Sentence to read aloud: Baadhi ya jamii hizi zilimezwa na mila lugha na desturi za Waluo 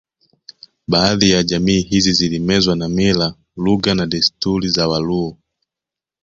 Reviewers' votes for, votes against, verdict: 2, 0, accepted